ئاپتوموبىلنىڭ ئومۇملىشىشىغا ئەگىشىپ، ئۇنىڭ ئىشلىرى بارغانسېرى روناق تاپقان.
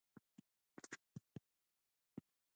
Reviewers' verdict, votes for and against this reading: rejected, 0, 2